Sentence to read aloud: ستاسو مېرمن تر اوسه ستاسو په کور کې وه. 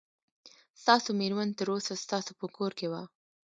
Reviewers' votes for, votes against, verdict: 2, 0, accepted